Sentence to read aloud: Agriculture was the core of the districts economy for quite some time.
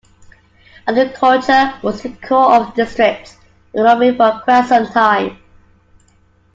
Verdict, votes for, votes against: rejected, 0, 2